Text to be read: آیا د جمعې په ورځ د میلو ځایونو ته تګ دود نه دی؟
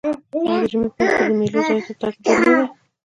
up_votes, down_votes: 1, 2